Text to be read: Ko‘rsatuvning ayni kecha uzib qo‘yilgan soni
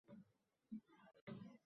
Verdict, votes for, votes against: rejected, 0, 2